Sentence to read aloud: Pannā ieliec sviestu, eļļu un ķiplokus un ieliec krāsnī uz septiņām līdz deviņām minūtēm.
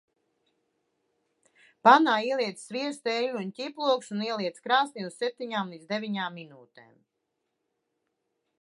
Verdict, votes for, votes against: accepted, 2, 0